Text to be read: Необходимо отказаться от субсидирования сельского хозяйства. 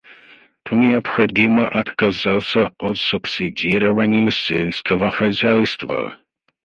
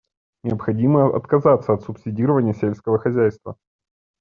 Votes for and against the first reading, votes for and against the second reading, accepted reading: 2, 4, 2, 0, second